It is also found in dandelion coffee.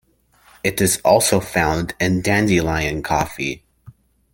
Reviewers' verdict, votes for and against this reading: accepted, 2, 1